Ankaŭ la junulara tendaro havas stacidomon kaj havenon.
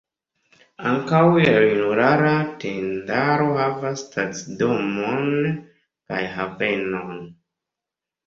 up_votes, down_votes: 1, 2